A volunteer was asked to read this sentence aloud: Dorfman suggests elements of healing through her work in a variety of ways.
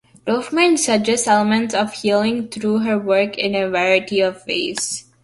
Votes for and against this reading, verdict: 2, 0, accepted